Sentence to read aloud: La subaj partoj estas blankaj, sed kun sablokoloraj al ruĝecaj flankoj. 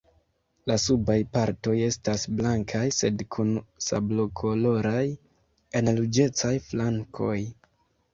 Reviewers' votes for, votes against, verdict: 2, 1, accepted